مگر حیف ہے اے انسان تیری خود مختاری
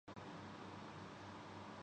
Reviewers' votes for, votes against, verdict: 0, 3, rejected